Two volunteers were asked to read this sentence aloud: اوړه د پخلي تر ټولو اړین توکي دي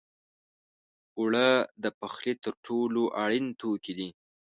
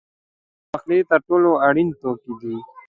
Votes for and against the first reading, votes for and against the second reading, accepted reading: 2, 0, 0, 2, first